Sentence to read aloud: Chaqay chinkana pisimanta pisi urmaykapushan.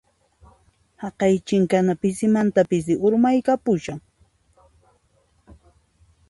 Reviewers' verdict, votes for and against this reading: rejected, 0, 2